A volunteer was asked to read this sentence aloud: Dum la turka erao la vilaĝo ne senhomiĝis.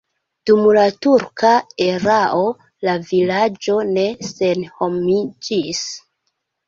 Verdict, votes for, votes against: accepted, 2, 0